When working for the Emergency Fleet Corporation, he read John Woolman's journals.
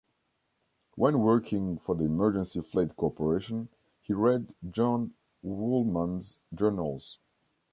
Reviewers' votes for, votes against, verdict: 0, 2, rejected